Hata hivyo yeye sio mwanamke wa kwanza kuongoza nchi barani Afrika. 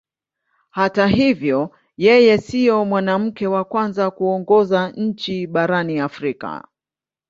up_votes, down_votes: 18, 1